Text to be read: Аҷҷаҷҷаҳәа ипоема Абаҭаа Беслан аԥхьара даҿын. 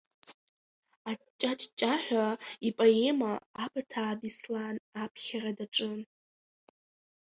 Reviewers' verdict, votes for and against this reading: accepted, 2, 0